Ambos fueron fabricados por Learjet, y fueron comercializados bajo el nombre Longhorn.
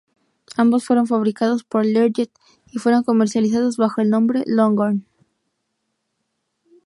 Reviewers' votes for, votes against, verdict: 0, 2, rejected